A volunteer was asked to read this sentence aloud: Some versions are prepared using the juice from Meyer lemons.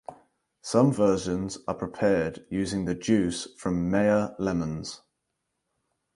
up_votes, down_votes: 4, 0